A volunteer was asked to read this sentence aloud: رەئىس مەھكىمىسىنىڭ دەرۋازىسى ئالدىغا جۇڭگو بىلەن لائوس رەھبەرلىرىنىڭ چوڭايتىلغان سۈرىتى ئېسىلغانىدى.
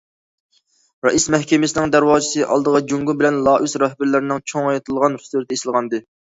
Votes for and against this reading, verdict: 1, 2, rejected